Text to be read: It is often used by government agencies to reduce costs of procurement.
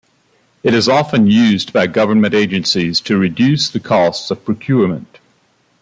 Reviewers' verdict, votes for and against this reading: rejected, 0, 2